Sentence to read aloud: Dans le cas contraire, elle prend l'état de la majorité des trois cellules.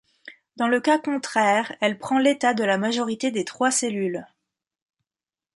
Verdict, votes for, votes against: accepted, 2, 0